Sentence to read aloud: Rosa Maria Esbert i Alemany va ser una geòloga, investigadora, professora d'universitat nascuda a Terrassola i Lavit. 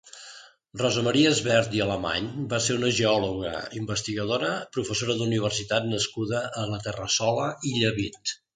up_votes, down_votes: 0, 2